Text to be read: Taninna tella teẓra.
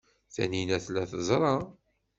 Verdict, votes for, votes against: accepted, 2, 0